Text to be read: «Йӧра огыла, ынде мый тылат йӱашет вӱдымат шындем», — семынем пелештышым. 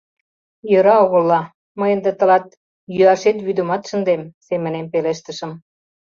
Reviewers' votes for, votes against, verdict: 0, 2, rejected